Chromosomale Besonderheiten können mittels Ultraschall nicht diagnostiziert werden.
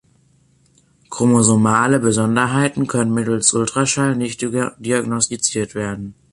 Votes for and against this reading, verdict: 3, 0, accepted